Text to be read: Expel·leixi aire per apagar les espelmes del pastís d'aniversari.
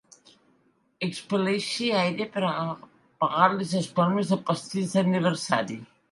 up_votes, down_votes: 0, 2